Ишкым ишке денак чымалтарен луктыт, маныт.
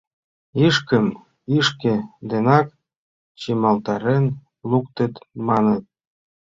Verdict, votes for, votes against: accepted, 2, 1